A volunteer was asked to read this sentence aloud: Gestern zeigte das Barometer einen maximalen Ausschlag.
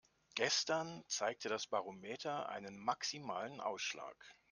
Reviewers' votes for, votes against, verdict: 2, 0, accepted